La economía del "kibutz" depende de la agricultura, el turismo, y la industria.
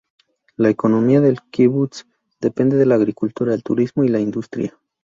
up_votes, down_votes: 4, 0